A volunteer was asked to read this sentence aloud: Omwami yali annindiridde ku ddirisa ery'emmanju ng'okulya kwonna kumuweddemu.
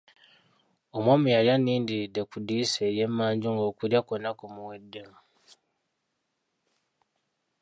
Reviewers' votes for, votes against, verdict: 0, 2, rejected